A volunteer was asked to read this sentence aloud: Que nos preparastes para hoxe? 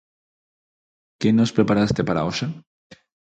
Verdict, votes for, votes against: rejected, 0, 4